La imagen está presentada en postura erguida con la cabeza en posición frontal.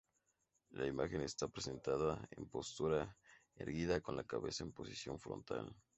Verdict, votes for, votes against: accepted, 2, 0